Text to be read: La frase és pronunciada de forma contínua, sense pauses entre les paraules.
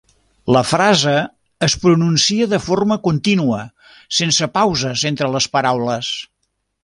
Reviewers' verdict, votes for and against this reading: rejected, 0, 2